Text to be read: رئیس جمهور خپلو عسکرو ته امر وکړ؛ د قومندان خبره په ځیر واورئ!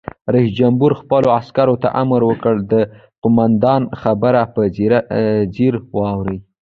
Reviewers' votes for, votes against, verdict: 1, 2, rejected